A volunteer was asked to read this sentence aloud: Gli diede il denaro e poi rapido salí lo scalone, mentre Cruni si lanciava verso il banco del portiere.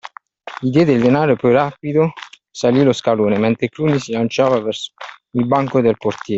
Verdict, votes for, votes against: rejected, 0, 2